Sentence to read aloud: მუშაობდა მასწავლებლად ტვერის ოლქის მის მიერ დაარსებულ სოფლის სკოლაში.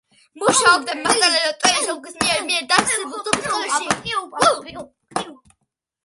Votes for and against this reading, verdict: 0, 2, rejected